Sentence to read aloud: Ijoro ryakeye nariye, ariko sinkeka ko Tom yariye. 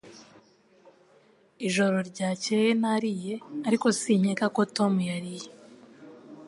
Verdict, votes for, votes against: accepted, 2, 0